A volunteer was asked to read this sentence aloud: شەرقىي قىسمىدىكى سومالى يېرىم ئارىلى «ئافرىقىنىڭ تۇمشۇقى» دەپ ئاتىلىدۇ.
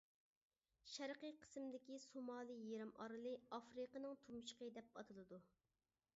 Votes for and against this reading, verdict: 1, 2, rejected